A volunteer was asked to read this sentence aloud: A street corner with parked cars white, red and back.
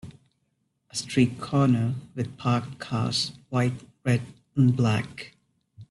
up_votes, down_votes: 1, 2